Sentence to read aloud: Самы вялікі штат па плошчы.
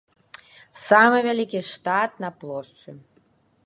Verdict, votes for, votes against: rejected, 1, 2